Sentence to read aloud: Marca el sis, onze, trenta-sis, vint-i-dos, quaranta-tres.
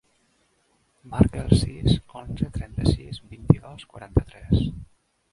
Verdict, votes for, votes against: rejected, 1, 2